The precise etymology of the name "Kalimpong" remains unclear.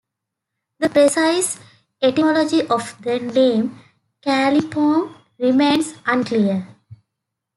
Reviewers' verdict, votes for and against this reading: accepted, 2, 0